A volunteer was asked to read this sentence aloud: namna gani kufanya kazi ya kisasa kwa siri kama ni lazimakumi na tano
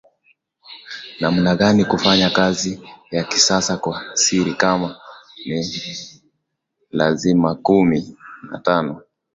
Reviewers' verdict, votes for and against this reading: accepted, 2, 1